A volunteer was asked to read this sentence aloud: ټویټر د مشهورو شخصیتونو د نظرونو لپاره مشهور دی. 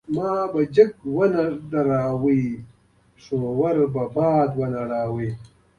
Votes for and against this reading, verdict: 1, 2, rejected